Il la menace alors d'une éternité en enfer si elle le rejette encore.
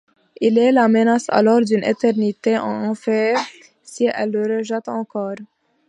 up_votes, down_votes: 0, 2